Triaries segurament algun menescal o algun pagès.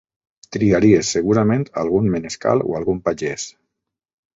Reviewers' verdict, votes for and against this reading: accepted, 2, 0